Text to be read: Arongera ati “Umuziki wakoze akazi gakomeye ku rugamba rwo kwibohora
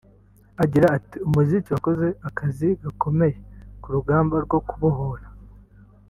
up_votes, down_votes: 1, 2